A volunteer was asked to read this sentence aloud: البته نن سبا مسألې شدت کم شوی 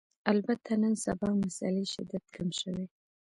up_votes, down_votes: 2, 1